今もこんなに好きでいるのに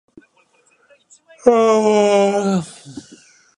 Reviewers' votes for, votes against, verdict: 0, 2, rejected